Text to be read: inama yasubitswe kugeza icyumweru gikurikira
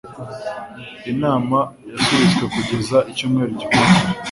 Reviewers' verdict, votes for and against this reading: accepted, 2, 0